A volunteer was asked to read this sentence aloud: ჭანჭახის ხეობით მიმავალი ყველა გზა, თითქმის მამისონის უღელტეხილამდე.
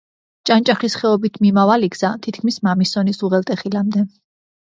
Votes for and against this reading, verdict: 1, 2, rejected